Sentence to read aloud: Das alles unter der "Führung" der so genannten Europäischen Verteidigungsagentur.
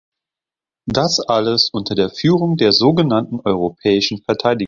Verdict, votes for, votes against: rejected, 0, 2